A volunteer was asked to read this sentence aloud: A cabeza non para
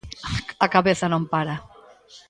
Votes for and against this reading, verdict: 2, 0, accepted